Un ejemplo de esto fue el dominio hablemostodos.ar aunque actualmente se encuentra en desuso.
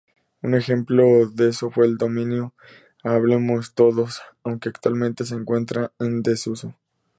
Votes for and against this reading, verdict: 0, 4, rejected